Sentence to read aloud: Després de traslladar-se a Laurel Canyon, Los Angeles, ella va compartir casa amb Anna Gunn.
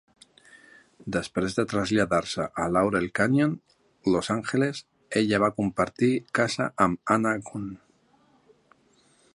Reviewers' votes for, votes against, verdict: 2, 0, accepted